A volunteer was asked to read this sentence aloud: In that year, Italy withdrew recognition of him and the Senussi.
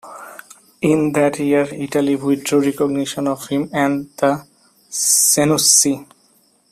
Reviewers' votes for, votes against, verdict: 2, 1, accepted